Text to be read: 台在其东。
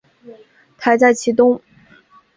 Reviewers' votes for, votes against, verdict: 3, 0, accepted